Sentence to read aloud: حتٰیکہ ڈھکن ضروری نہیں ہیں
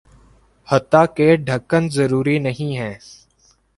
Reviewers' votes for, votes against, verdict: 2, 0, accepted